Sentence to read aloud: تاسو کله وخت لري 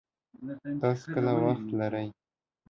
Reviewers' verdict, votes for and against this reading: accepted, 2, 0